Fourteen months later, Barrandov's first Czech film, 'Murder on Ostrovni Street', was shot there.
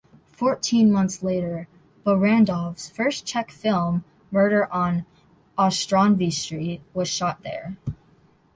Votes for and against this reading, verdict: 0, 2, rejected